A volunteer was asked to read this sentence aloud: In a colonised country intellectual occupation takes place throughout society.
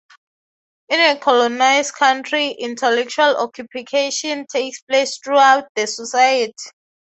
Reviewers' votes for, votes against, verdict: 3, 0, accepted